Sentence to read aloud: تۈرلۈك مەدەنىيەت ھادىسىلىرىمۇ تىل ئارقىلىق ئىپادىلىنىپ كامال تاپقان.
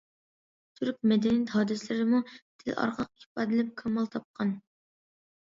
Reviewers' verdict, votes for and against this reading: rejected, 1, 2